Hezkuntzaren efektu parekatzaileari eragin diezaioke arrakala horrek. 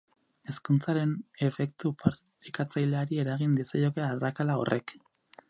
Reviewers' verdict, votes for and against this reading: rejected, 0, 2